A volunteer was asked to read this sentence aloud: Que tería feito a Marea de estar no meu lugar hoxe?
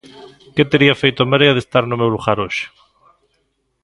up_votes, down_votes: 2, 0